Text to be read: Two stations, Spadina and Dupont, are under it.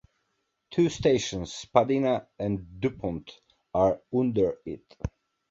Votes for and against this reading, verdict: 2, 0, accepted